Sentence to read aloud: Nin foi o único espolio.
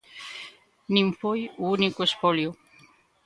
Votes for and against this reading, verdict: 2, 0, accepted